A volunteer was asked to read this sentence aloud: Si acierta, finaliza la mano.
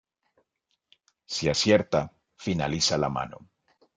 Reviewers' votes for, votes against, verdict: 2, 0, accepted